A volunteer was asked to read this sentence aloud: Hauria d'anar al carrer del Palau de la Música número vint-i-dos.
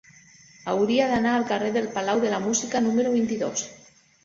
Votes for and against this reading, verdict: 3, 1, accepted